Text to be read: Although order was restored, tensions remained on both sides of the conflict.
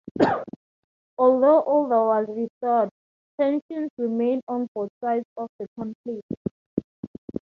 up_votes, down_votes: 2, 0